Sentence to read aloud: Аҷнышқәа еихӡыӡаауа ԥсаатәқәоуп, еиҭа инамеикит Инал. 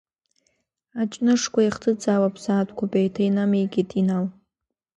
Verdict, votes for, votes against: accepted, 2, 0